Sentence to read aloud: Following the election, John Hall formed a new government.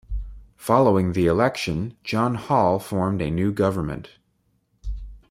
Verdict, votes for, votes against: accepted, 2, 0